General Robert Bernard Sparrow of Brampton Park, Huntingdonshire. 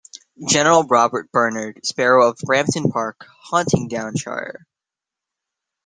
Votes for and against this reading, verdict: 2, 0, accepted